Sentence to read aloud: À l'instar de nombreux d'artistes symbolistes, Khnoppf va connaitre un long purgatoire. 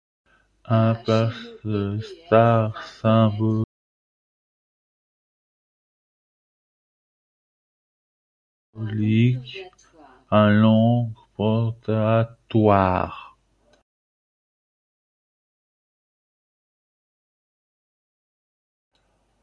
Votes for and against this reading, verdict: 0, 3, rejected